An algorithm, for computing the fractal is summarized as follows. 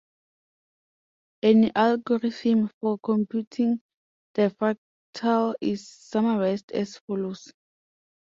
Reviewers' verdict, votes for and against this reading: accepted, 2, 0